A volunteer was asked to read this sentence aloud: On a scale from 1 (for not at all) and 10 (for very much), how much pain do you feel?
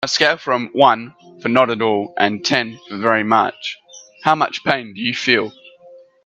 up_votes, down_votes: 0, 2